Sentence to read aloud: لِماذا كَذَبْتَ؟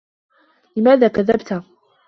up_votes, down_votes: 2, 0